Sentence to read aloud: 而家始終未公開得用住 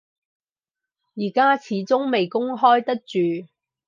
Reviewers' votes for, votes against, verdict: 0, 4, rejected